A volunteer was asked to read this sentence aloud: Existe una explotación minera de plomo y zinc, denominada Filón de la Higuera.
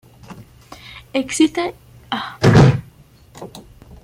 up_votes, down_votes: 0, 2